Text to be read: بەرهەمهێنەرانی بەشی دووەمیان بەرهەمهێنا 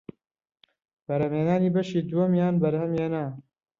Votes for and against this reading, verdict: 1, 2, rejected